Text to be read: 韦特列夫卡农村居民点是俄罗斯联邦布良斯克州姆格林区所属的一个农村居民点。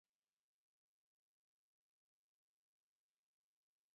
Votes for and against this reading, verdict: 0, 3, rejected